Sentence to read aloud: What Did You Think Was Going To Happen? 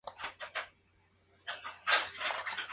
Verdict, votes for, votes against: rejected, 0, 2